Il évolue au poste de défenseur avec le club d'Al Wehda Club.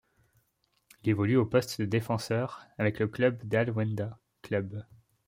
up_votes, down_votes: 1, 2